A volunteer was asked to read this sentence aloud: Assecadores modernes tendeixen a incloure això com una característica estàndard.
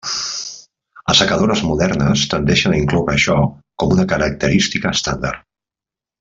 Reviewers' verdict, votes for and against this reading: accepted, 2, 0